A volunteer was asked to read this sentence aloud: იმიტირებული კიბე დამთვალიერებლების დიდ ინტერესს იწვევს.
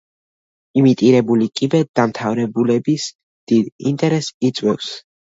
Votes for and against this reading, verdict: 1, 2, rejected